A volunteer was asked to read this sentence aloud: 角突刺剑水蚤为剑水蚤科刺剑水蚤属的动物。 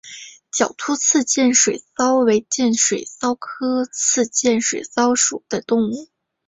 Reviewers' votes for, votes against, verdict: 3, 1, accepted